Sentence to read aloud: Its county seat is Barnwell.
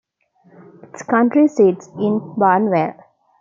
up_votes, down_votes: 0, 2